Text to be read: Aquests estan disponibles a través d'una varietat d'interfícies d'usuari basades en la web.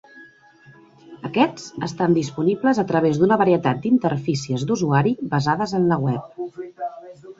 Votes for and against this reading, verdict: 1, 2, rejected